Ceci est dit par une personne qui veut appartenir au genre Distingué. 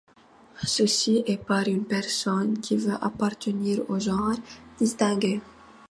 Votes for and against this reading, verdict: 1, 2, rejected